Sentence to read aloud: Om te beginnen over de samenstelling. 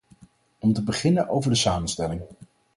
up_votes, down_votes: 2, 2